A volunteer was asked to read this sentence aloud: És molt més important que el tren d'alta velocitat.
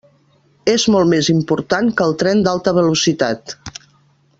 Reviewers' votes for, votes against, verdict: 3, 0, accepted